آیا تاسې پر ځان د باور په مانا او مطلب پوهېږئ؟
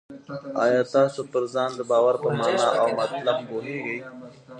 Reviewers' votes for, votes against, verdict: 1, 2, rejected